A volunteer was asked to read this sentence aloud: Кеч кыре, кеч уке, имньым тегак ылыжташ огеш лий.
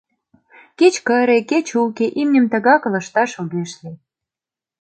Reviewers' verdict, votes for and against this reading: rejected, 0, 2